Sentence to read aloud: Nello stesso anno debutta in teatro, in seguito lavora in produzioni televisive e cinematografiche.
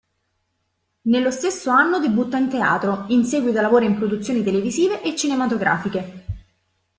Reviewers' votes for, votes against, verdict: 2, 0, accepted